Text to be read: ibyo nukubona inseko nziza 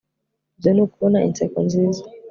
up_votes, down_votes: 2, 0